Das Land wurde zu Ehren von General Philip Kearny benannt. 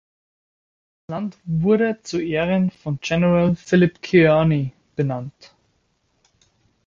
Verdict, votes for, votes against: rejected, 1, 2